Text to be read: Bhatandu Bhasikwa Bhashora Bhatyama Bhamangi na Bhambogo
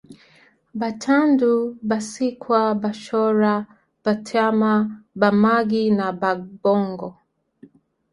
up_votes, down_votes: 1, 3